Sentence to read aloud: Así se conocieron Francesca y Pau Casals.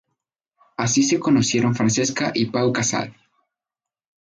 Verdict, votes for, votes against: accepted, 2, 0